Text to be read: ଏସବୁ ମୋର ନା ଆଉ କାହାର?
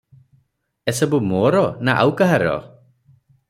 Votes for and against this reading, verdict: 0, 3, rejected